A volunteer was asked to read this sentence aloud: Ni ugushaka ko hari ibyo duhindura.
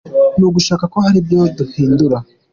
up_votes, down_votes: 3, 1